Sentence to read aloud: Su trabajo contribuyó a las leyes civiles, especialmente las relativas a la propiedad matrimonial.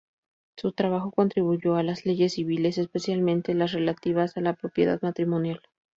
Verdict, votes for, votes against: accepted, 2, 0